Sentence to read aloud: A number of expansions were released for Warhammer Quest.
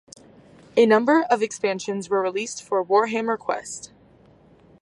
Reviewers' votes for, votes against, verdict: 2, 0, accepted